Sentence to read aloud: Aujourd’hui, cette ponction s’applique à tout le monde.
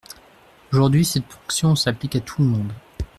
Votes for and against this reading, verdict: 0, 2, rejected